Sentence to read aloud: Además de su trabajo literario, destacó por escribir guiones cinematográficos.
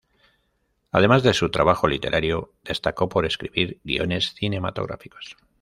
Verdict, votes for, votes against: rejected, 1, 2